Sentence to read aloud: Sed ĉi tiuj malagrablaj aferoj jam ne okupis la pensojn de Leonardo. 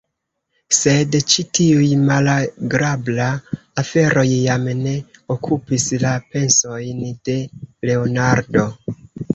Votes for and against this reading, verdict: 0, 2, rejected